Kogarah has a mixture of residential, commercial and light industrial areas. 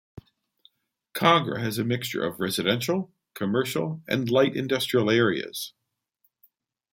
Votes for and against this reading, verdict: 2, 1, accepted